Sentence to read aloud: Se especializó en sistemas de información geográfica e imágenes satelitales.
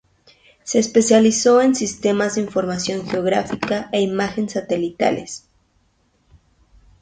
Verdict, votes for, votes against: rejected, 2, 2